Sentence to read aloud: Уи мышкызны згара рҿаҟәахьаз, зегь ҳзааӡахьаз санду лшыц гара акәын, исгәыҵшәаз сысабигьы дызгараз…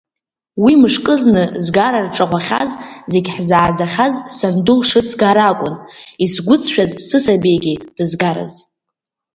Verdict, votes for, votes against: accepted, 3, 2